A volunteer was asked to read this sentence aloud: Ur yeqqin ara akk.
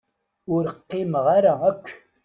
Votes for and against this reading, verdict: 1, 2, rejected